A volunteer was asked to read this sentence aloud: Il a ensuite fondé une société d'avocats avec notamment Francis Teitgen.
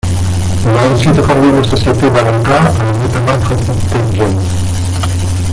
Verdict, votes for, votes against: rejected, 0, 2